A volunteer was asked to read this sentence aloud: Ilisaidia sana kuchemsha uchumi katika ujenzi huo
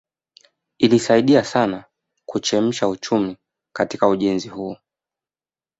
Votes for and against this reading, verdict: 2, 0, accepted